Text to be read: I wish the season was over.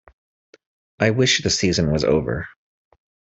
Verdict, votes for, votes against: accepted, 2, 0